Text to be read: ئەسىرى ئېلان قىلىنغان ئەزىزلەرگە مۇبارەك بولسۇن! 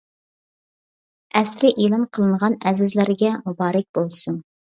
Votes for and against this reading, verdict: 2, 0, accepted